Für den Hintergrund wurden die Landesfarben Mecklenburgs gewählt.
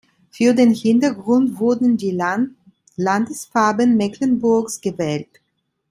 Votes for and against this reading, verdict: 0, 2, rejected